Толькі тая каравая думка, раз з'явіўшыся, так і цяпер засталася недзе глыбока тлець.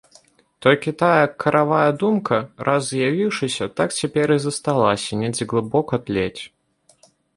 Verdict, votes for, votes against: rejected, 1, 2